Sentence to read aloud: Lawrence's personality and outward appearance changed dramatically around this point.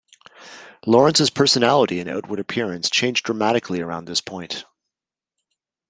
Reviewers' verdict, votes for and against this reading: accepted, 2, 0